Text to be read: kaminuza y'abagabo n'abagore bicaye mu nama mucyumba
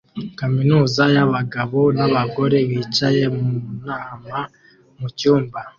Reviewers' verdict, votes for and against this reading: accepted, 2, 0